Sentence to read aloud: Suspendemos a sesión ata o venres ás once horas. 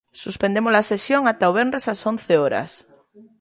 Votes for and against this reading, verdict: 2, 0, accepted